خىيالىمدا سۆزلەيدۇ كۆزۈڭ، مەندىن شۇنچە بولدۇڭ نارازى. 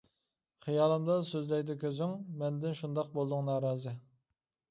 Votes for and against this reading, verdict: 0, 2, rejected